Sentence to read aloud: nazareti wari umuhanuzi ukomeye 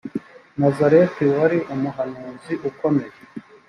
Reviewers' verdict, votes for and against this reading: accepted, 2, 0